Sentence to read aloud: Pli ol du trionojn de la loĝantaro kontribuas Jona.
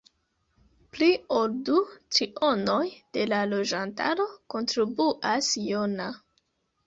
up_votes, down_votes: 0, 2